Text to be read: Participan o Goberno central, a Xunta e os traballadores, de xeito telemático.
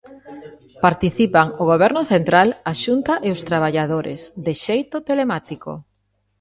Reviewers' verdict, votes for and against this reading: accepted, 2, 0